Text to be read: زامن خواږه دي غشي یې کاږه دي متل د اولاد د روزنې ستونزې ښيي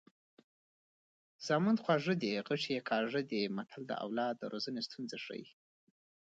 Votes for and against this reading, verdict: 1, 2, rejected